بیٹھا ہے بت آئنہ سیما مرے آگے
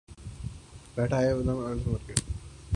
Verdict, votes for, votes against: rejected, 0, 2